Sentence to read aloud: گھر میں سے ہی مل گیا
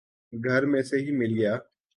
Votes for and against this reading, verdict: 2, 0, accepted